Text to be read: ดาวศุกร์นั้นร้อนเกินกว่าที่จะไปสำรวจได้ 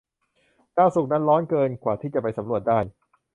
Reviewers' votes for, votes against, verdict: 2, 0, accepted